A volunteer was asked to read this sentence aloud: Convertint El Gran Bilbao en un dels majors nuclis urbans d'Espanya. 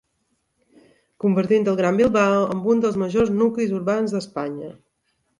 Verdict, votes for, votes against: accepted, 2, 0